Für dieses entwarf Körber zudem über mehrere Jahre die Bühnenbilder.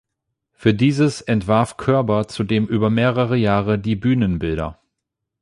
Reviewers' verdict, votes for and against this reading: accepted, 8, 0